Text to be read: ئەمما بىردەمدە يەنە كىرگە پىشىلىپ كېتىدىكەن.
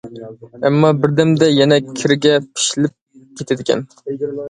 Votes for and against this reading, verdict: 2, 0, accepted